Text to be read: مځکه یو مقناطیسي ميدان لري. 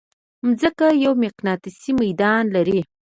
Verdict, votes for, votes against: accepted, 2, 0